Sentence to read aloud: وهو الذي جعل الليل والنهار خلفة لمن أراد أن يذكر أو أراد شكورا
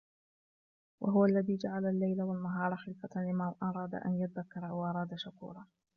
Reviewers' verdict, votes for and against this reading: rejected, 0, 2